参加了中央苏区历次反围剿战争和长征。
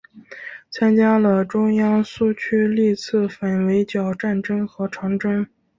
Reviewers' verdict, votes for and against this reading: accepted, 2, 0